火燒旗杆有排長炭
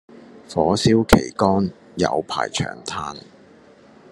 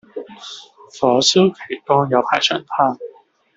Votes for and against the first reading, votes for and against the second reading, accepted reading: 2, 0, 0, 2, first